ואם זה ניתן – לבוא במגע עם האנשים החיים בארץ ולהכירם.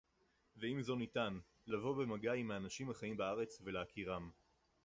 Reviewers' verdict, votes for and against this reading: rejected, 0, 4